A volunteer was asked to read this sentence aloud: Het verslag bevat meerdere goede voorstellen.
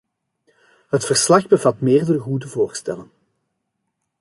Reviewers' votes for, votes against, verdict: 2, 0, accepted